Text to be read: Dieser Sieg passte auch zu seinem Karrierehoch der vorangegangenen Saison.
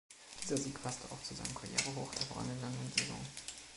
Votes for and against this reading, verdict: 1, 2, rejected